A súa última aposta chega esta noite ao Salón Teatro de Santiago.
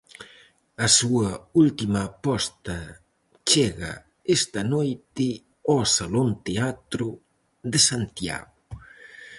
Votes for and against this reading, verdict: 4, 0, accepted